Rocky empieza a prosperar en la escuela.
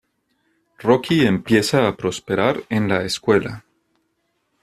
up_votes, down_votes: 2, 0